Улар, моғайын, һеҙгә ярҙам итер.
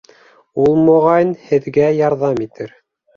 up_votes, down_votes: 0, 2